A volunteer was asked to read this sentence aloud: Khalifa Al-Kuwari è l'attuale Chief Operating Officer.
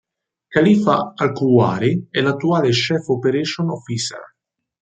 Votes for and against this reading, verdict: 1, 2, rejected